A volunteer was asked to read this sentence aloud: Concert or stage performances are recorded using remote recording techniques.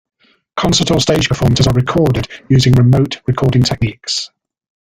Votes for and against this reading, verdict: 1, 2, rejected